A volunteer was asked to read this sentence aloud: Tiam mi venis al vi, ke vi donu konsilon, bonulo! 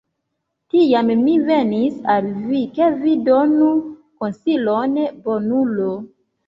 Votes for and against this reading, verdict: 2, 0, accepted